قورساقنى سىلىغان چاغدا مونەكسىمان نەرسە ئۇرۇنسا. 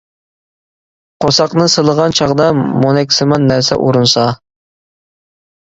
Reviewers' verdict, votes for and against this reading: accepted, 2, 0